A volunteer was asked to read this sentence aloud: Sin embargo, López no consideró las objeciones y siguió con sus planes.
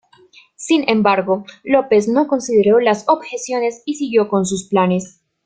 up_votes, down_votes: 1, 2